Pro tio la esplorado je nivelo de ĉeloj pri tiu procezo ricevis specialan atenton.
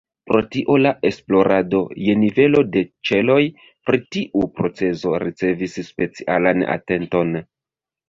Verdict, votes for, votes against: rejected, 0, 2